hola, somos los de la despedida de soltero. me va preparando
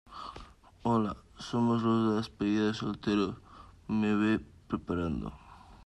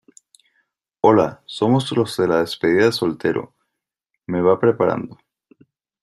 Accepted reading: second